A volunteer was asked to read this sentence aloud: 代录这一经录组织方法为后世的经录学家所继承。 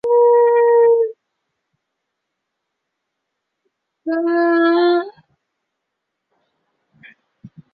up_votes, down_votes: 0, 2